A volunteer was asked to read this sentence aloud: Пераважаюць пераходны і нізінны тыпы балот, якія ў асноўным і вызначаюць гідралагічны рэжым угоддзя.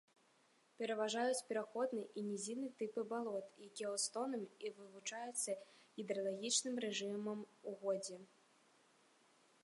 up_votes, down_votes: 0, 2